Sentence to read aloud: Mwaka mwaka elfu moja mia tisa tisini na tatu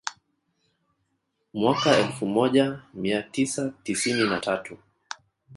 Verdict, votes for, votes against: rejected, 1, 2